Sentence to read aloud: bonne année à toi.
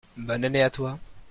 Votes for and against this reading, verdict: 2, 0, accepted